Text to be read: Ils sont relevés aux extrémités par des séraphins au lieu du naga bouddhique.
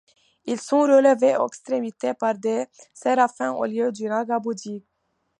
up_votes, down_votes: 0, 2